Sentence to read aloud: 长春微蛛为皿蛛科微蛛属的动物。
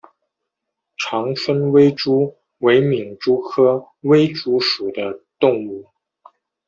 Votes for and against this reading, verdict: 2, 0, accepted